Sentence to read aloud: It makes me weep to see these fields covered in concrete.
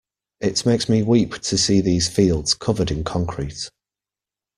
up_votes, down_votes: 1, 2